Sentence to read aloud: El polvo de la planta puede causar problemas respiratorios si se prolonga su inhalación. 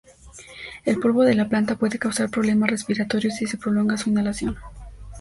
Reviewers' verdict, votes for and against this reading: accepted, 2, 0